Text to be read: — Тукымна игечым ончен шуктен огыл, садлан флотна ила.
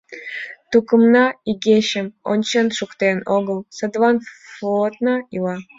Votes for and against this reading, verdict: 2, 0, accepted